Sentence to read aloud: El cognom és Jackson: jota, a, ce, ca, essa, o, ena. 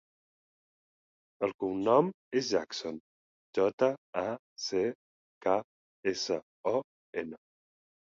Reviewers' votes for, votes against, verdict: 2, 2, rejected